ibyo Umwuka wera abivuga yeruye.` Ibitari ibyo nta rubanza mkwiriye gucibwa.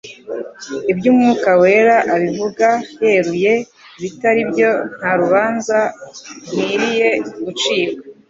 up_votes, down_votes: 2, 2